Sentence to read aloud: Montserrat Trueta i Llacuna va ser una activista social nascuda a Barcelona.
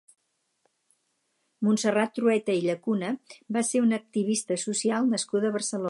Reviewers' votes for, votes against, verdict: 2, 4, rejected